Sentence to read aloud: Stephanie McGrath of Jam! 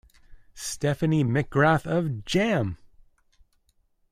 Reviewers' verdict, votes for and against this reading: accepted, 2, 0